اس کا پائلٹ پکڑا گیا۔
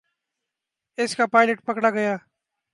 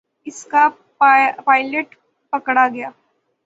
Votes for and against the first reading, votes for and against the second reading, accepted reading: 2, 0, 3, 6, first